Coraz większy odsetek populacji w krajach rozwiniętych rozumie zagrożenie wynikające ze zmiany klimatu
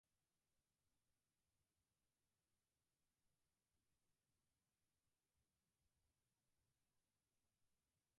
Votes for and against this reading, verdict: 0, 4, rejected